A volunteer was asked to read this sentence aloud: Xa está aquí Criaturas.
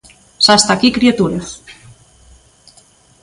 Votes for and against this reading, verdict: 2, 0, accepted